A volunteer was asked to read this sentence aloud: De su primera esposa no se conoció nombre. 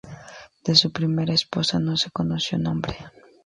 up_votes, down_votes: 2, 0